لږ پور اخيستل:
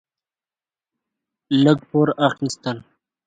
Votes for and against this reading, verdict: 2, 0, accepted